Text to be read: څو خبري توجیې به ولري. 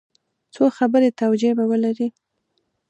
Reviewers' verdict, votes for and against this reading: accepted, 2, 0